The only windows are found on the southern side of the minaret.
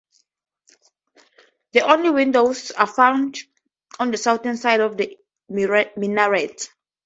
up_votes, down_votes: 2, 2